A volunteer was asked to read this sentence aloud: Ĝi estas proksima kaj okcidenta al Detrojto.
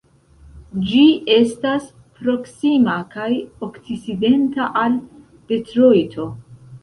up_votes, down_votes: 1, 2